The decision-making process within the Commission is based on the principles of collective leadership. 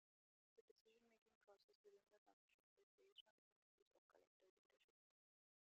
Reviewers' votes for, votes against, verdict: 0, 2, rejected